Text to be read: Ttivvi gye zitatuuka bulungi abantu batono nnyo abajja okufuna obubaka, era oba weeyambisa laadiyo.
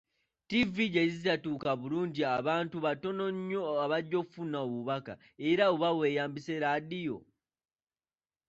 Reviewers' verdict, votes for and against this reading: rejected, 1, 2